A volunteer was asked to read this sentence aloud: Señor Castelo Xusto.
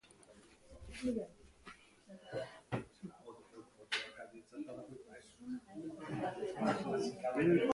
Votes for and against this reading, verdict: 0, 2, rejected